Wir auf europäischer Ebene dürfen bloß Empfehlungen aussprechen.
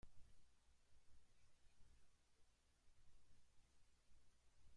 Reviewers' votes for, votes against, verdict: 0, 2, rejected